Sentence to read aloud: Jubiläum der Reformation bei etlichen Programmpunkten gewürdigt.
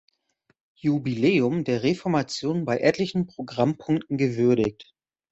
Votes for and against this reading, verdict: 2, 0, accepted